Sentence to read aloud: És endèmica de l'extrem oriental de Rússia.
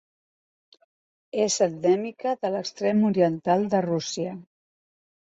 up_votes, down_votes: 6, 0